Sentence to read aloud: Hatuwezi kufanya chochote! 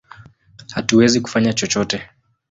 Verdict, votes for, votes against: accepted, 2, 0